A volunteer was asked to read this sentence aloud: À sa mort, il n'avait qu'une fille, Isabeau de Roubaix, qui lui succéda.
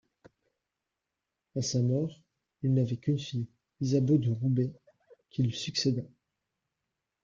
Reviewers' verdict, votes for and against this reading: rejected, 1, 2